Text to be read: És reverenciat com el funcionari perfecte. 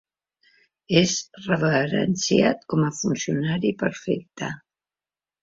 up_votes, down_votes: 0, 2